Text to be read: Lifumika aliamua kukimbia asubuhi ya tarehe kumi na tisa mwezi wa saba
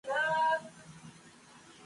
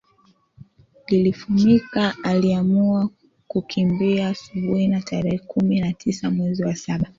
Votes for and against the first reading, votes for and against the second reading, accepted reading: 0, 3, 3, 2, second